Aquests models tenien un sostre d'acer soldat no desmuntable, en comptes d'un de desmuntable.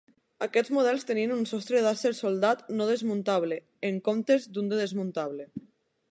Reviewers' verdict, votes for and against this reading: accepted, 2, 0